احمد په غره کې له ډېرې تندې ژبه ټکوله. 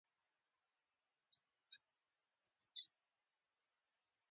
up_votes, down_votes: 0, 2